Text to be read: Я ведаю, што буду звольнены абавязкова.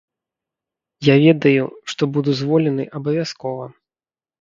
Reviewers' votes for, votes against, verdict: 1, 2, rejected